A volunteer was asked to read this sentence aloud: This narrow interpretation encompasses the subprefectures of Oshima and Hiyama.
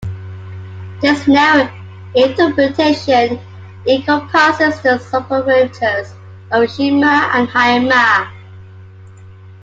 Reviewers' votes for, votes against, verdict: 0, 2, rejected